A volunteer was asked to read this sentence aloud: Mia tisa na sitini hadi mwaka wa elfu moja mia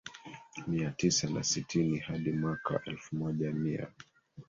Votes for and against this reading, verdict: 2, 1, accepted